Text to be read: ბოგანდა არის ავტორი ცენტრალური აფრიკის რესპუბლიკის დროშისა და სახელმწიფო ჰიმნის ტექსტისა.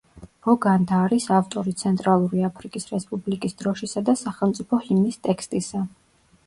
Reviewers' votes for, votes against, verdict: 2, 0, accepted